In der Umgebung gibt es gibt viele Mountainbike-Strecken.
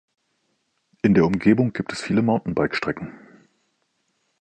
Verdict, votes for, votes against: accepted, 2, 0